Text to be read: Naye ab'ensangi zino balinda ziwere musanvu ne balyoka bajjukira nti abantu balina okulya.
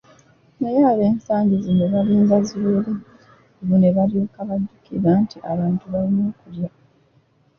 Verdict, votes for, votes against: rejected, 0, 2